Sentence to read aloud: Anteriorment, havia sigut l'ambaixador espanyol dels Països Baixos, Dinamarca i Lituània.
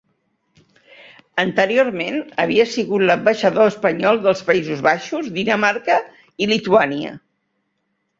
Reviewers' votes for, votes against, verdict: 3, 0, accepted